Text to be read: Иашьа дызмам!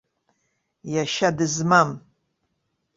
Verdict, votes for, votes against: accepted, 2, 0